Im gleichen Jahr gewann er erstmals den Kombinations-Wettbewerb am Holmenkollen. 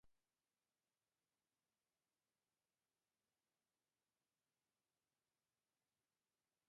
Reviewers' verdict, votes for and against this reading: rejected, 0, 2